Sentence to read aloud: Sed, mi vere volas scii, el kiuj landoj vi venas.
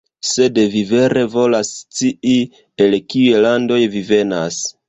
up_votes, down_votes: 0, 2